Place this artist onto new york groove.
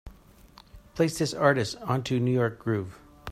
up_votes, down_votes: 2, 0